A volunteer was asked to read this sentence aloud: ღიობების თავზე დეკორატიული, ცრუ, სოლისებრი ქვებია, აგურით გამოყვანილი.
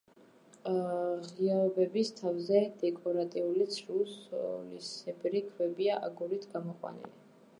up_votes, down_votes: 0, 2